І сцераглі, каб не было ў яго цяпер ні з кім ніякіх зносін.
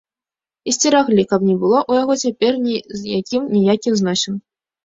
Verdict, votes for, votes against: rejected, 1, 2